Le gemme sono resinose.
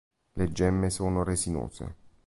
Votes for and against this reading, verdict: 2, 0, accepted